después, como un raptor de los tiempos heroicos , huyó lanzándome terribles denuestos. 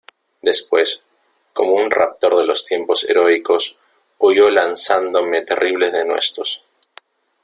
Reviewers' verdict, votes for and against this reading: accepted, 2, 0